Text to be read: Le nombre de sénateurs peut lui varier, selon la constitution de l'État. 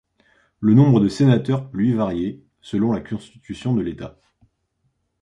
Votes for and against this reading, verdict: 0, 2, rejected